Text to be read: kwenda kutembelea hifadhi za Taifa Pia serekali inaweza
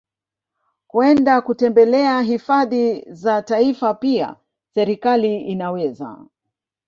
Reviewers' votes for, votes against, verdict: 1, 2, rejected